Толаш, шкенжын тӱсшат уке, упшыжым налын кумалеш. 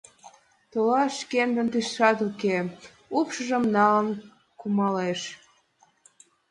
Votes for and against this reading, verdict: 2, 0, accepted